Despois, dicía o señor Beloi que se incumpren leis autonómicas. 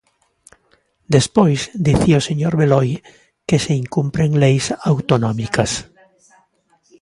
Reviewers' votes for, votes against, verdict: 2, 0, accepted